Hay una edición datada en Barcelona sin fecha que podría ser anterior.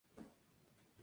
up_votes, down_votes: 0, 2